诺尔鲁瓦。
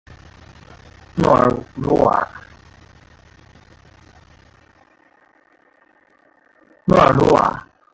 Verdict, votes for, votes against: rejected, 0, 2